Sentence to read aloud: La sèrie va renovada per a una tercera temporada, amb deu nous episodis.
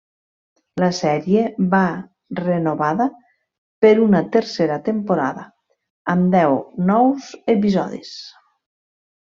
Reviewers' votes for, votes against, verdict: 1, 2, rejected